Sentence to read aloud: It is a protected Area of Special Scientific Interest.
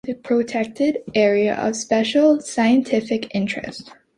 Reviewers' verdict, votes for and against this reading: accepted, 2, 1